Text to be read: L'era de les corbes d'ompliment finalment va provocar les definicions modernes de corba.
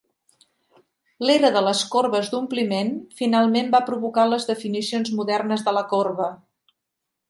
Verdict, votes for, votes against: rejected, 0, 2